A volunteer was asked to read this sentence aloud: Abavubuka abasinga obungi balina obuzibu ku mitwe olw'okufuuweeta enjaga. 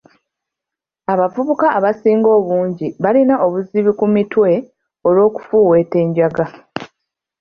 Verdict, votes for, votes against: accepted, 2, 0